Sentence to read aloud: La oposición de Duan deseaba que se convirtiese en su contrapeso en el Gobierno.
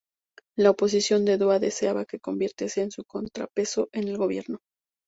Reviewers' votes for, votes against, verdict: 2, 0, accepted